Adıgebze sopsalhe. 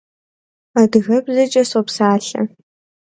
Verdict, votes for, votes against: rejected, 1, 2